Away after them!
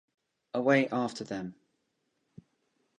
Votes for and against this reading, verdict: 2, 0, accepted